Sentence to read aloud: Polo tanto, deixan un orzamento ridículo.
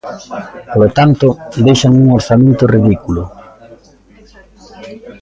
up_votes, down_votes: 0, 2